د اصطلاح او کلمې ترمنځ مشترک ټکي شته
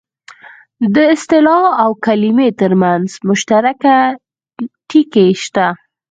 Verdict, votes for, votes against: accepted, 4, 0